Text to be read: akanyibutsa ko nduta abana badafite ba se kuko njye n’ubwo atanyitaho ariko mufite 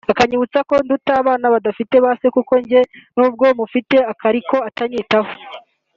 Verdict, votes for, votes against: rejected, 1, 3